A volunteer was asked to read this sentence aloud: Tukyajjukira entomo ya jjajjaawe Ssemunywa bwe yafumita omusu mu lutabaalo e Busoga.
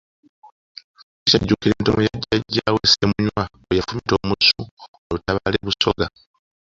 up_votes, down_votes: 1, 2